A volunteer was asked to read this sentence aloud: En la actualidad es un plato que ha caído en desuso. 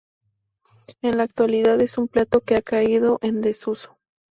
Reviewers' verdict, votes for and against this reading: accepted, 2, 0